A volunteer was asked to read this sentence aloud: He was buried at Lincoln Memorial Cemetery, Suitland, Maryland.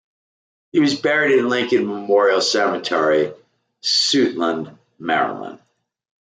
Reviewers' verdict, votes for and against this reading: accepted, 2, 1